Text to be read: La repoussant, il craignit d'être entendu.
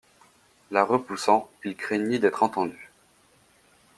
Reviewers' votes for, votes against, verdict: 2, 0, accepted